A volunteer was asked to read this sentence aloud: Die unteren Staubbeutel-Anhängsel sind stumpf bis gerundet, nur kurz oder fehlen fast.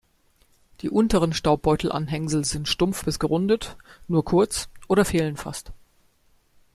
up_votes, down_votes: 2, 0